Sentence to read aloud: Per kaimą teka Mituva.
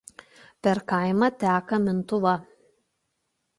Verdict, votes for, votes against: rejected, 0, 2